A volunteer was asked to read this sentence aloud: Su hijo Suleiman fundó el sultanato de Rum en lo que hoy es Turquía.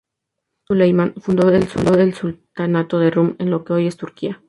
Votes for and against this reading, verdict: 0, 2, rejected